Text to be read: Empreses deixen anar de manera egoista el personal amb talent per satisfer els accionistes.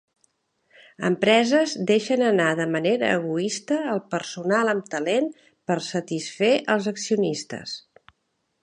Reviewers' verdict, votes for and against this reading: accepted, 4, 0